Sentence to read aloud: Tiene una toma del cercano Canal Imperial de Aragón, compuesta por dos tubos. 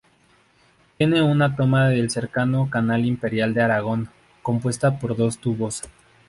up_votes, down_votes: 0, 2